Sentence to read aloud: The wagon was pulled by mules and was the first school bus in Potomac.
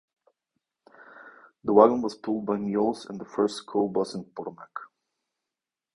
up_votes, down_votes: 2, 1